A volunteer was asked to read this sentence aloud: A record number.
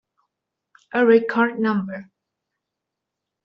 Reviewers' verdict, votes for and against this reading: accepted, 2, 1